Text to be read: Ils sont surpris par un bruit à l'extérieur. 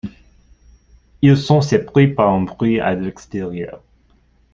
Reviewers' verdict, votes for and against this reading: accepted, 2, 1